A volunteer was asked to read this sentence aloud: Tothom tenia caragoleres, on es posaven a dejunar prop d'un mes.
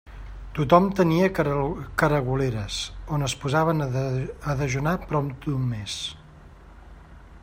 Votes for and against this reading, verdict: 1, 2, rejected